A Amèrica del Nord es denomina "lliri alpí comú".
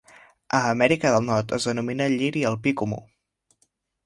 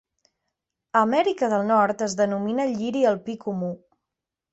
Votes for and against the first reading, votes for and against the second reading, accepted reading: 0, 2, 2, 0, second